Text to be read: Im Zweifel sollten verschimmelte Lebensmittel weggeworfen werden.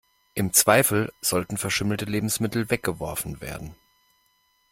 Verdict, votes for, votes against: accepted, 2, 0